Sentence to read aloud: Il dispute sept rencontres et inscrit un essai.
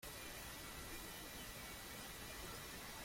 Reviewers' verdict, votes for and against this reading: rejected, 0, 2